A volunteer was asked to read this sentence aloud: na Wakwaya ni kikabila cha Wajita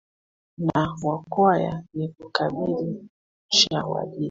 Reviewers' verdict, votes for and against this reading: rejected, 0, 2